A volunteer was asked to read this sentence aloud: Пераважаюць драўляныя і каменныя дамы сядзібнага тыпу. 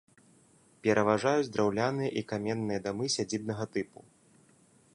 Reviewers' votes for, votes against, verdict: 2, 0, accepted